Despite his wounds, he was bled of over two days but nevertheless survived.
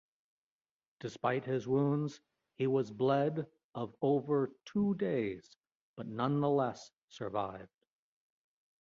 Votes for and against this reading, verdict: 0, 2, rejected